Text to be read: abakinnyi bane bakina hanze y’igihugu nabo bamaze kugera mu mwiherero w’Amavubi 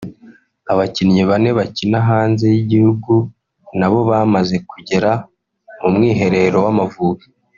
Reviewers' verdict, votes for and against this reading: rejected, 0, 2